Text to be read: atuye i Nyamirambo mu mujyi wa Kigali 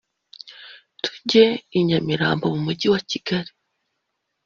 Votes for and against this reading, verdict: 0, 2, rejected